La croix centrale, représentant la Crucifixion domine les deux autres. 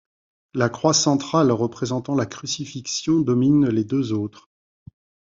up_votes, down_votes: 2, 0